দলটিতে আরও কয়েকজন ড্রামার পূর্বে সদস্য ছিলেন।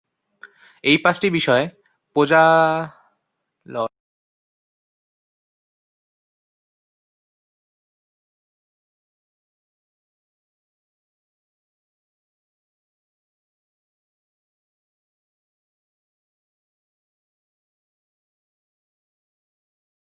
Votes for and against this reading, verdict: 0, 2, rejected